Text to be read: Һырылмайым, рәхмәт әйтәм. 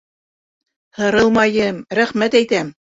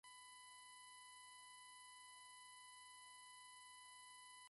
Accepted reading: first